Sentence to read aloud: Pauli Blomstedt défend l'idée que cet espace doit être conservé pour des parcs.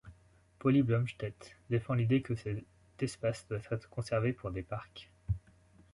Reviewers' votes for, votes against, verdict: 0, 2, rejected